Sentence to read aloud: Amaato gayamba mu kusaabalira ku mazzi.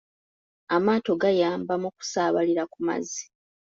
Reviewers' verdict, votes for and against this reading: accepted, 2, 0